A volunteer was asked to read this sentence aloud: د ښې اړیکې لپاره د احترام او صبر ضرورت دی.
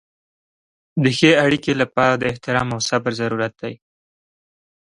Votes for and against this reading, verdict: 2, 0, accepted